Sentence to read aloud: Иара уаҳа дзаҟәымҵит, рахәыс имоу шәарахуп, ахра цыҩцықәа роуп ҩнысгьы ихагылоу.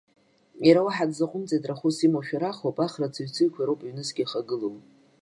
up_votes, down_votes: 2, 0